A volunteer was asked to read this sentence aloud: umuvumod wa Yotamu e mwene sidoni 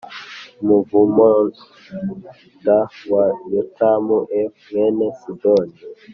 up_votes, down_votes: 2, 0